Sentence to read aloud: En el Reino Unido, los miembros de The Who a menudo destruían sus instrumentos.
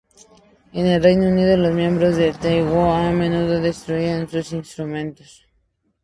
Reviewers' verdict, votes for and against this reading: accepted, 2, 0